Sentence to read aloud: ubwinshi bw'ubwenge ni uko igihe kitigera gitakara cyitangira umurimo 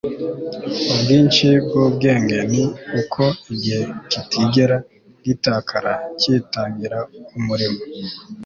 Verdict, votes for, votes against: accepted, 2, 0